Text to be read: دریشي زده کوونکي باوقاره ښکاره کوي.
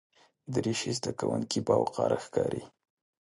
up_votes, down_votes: 1, 2